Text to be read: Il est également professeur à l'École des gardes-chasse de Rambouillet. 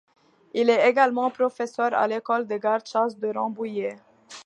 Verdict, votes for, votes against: accepted, 2, 0